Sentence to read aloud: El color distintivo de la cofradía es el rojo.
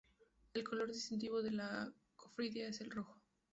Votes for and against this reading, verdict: 2, 0, accepted